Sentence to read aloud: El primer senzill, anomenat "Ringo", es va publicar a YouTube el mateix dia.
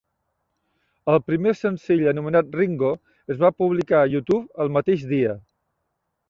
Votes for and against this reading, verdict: 3, 0, accepted